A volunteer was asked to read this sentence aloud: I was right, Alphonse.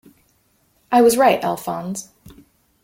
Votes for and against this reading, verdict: 2, 0, accepted